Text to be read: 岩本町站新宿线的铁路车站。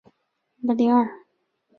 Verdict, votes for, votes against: rejected, 0, 3